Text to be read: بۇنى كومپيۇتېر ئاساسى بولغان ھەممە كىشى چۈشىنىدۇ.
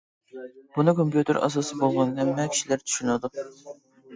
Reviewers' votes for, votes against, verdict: 0, 2, rejected